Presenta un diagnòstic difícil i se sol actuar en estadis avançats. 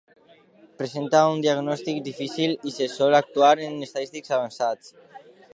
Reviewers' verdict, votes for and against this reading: rejected, 0, 2